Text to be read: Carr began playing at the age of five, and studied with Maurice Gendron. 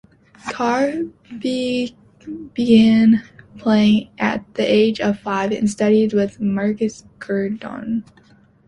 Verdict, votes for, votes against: rejected, 0, 2